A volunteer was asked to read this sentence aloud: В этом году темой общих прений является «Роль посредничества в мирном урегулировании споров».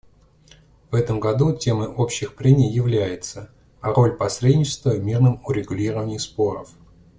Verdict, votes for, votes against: accepted, 2, 1